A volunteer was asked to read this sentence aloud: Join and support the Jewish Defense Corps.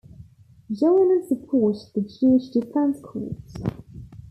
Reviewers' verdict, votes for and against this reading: rejected, 1, 2